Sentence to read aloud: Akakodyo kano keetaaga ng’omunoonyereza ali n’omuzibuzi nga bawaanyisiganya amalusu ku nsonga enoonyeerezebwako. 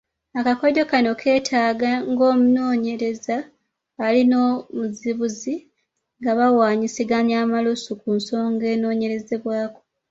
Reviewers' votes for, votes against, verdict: 2, 1, accepted